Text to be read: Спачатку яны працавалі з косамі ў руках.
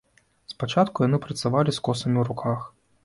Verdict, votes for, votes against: accepted, 2, 0